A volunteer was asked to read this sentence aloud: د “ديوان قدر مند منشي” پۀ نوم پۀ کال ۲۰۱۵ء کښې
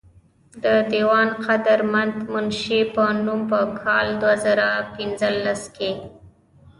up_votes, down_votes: 0, 2